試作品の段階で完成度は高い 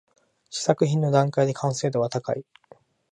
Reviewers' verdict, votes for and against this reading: rejected, 1, 2